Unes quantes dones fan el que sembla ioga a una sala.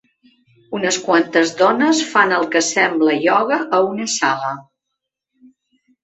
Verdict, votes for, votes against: accepted, 3, 0